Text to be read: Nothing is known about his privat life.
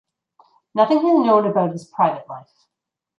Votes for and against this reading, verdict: 0, 2, rejected